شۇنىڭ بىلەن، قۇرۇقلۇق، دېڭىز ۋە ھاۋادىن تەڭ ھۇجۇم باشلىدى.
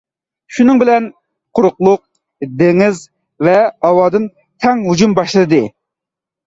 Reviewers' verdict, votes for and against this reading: accepted, 2, 0